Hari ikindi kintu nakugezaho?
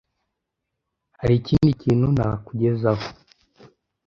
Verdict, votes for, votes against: accepted, 2, 0